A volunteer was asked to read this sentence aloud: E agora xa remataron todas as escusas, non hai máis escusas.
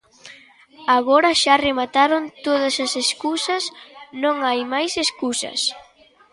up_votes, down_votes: 1, 2